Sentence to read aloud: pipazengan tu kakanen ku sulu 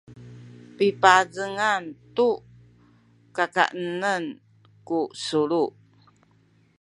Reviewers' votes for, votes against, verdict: 0, 2, rejected